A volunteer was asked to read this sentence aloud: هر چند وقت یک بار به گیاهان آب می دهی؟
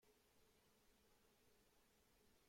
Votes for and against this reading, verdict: 2, 0, accepted